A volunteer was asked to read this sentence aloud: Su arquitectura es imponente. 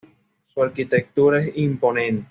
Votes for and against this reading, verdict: 2, 1, accepted